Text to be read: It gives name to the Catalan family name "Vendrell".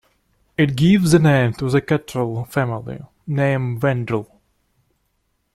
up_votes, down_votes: 0, 2